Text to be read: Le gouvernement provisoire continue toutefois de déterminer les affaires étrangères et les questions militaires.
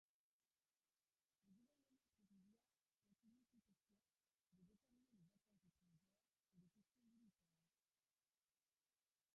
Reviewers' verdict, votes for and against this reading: rejected, 0, 2